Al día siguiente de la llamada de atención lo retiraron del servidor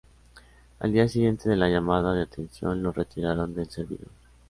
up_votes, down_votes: 2, 0